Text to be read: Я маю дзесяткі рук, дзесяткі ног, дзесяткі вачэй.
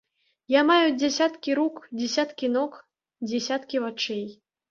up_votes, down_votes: 1, 2